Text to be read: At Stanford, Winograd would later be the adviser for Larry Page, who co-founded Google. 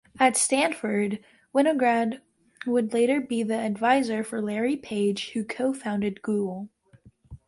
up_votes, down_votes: 2, 0